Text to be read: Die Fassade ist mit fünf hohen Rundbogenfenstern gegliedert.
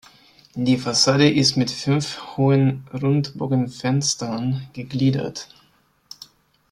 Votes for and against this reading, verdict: 2, 0, accepted